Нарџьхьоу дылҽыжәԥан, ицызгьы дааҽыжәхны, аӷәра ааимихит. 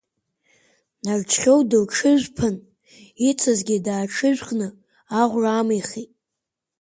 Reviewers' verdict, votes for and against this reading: accepted, 4, 2